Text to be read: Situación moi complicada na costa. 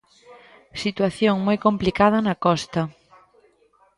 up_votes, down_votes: 2, 0